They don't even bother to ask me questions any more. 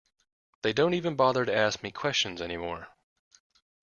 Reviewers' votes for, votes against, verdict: 2, 0, accepted